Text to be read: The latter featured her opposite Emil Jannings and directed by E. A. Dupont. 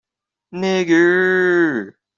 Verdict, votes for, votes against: rejected, 0, 2